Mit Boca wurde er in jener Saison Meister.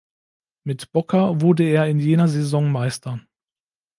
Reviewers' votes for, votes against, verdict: 2, 0, accepted